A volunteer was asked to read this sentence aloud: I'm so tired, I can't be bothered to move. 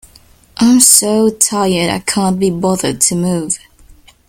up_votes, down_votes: 2, 0